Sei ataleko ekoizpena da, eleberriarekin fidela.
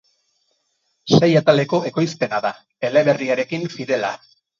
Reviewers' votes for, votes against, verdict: 4, 0, accepted